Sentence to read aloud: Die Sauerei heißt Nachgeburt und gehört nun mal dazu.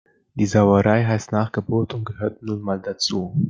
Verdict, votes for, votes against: accepted, 2, 0